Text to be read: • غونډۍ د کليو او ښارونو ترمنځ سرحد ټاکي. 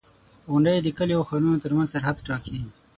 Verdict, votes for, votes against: rejected, 0, 6